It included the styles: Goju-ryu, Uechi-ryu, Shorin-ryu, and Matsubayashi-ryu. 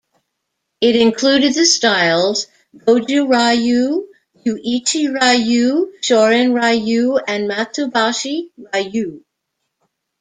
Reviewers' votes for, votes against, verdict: 1, 2, rejected